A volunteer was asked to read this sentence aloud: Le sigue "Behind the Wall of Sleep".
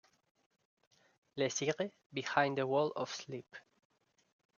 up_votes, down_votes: 1, 2